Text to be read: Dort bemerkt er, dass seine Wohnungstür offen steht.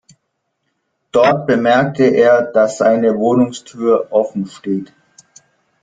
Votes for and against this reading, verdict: 0, 2, rejected